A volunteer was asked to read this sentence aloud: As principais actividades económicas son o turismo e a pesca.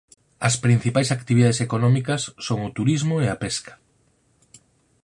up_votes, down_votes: 4, 0